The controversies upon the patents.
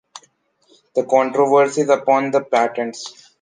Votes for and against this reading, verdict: 2, 0, accepted